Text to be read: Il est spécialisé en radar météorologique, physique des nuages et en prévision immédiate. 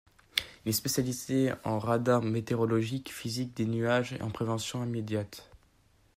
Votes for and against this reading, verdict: 1, 2, rejected